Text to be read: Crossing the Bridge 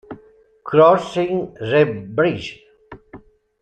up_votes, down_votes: 1, 2